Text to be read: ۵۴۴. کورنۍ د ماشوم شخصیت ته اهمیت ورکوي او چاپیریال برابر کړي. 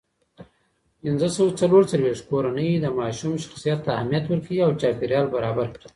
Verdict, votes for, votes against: rejected, 0, 2